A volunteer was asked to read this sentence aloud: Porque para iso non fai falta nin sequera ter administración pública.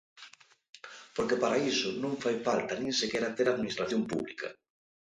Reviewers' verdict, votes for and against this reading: accepted, 2, 0